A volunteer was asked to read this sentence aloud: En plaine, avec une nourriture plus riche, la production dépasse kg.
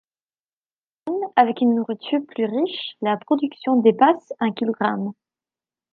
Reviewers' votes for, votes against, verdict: 0, 2, rejected